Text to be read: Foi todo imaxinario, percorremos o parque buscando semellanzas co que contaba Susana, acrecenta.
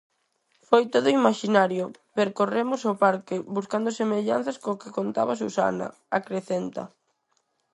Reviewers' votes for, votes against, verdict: 4, 0, accepted